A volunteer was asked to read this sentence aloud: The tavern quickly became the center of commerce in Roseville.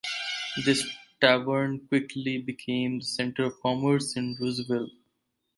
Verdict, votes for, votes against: rejected, 0, 4